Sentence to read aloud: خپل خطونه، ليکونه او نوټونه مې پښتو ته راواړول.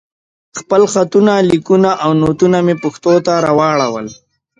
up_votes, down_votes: 2, 0